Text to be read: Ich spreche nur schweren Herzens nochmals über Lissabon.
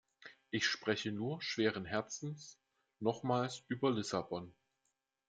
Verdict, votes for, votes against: accepted, 2, 0